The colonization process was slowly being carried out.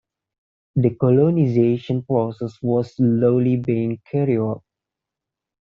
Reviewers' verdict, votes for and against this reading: rejected, 1, 2